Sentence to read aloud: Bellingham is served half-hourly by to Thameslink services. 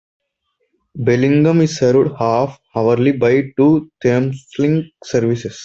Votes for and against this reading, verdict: 2, 1, accepted